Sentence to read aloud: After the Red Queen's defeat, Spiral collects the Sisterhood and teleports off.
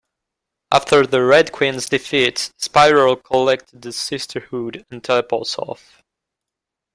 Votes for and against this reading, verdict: 2, 1, accepted